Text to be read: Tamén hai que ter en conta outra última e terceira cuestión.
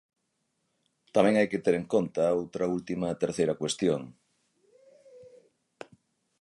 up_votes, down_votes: 6, 0